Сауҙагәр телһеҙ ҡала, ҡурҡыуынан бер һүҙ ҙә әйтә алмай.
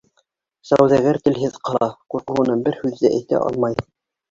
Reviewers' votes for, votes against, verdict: 2, 1, accepted